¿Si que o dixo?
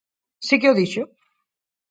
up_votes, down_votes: 4, 0